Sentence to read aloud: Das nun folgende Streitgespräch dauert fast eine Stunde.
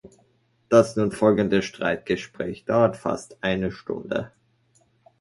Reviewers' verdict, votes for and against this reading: accepted, 2, 0